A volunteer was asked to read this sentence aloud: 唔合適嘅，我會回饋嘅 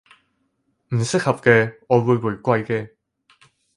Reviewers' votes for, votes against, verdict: 2, 4, rejected